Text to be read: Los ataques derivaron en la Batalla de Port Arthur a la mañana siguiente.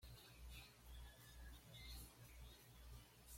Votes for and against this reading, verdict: 1, 2, rejected